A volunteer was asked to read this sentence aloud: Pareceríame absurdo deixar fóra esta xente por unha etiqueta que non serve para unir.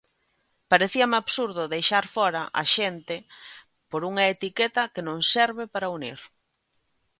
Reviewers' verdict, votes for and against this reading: rejected, 0, 2